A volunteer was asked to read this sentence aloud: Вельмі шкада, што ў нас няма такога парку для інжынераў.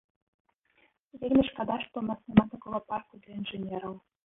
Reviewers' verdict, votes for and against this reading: rejected, 0, 2